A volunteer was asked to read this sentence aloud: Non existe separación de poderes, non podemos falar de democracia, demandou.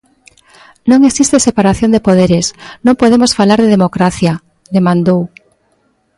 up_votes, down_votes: 2, 0